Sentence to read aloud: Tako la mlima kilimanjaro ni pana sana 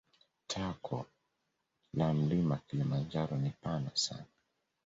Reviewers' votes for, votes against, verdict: 2, 0, accepted